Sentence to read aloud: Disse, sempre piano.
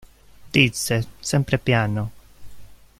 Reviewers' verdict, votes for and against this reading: rejected, 1, 2